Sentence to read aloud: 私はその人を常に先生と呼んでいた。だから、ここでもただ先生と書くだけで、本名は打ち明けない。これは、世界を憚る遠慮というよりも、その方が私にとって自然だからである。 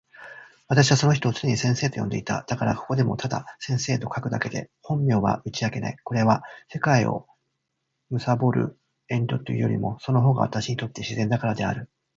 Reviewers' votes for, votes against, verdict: 2, 1, accepted